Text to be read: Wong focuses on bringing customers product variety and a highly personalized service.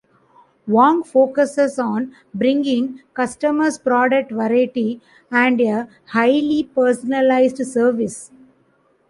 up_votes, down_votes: 2, 1